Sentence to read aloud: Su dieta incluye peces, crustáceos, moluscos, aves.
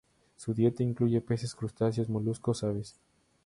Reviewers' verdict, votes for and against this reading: accepted, 2, 0